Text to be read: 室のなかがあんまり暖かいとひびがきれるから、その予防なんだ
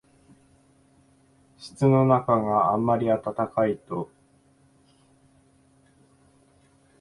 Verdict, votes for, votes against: rejected, 4, 14